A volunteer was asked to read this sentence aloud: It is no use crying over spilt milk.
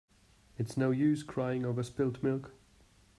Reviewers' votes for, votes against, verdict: 1, 3, rejected